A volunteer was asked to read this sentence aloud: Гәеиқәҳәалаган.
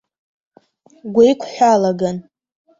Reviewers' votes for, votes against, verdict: 0, 2, rejected